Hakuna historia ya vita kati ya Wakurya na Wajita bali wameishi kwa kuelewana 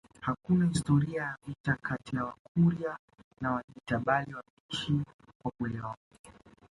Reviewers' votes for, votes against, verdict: 0, 2, rejected